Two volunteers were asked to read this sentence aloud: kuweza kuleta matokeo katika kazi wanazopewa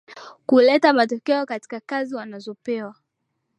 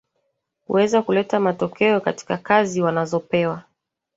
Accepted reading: second